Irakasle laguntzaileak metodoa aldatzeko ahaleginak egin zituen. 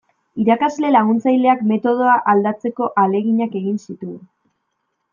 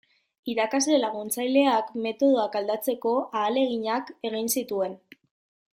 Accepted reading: first